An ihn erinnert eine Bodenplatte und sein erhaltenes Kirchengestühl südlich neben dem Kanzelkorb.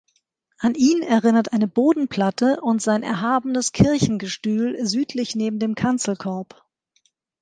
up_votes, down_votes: 0, 2